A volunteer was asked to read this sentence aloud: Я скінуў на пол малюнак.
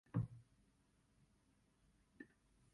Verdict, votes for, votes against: rejected, 0, 2